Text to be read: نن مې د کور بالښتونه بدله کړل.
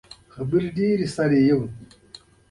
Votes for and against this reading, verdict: 0, 2, rejected